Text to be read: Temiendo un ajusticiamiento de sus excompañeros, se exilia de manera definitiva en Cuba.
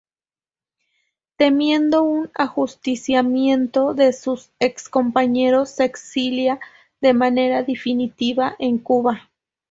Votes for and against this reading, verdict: 0, 2, rejected